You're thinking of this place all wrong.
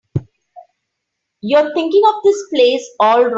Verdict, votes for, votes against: rejected, 0, 3